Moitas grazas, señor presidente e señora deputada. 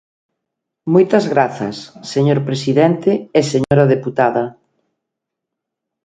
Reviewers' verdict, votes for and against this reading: accepted, 2, 0